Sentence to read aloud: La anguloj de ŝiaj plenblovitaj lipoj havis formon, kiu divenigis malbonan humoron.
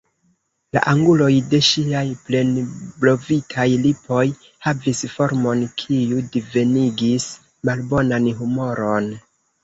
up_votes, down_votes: 1, 2